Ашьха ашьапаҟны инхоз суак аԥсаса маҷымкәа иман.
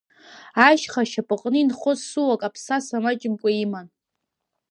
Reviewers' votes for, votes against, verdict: 2, 0, accepted